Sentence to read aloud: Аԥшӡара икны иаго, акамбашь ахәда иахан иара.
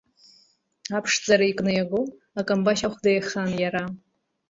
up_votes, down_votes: 1, 2